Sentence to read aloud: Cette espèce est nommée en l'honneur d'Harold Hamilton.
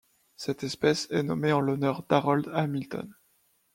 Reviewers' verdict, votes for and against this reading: accepted, 2, 0